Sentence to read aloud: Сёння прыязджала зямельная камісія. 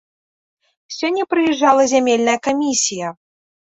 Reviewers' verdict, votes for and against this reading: accepted, 2, 0